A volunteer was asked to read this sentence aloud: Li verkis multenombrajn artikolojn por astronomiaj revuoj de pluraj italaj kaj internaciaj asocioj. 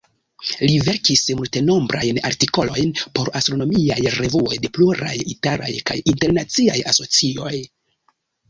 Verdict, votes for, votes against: accepted, 2, 0